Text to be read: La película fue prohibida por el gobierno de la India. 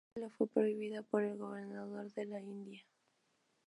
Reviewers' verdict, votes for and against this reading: rejected, 0, 2